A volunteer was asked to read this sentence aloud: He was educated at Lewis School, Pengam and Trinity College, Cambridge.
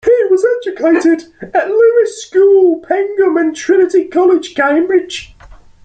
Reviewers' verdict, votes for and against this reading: rejected, 0, 2